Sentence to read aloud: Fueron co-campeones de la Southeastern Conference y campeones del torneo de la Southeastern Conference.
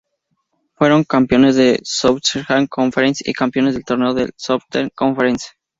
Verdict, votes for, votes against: rejected, 0, 2